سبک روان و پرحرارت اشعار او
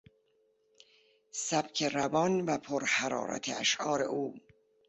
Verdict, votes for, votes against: accepted, 3, 0